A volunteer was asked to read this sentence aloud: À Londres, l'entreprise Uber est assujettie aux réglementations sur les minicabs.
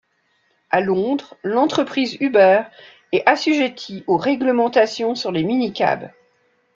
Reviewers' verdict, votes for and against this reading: accepted, 2, 0